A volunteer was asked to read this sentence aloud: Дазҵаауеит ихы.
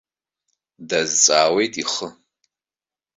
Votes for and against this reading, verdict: 2, 0, accepted